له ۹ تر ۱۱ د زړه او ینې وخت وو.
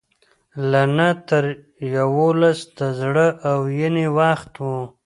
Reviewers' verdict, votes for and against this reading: rejected, 0, 2